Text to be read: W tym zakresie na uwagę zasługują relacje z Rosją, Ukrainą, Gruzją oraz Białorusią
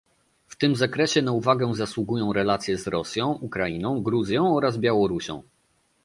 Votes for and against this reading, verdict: 2, 0, accepted